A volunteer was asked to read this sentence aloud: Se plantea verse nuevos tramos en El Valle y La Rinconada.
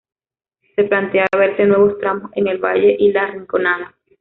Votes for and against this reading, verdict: 0, 2, rejected